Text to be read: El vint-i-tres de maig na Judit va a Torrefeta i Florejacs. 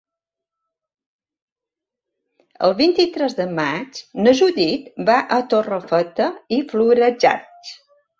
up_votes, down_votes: 3, 0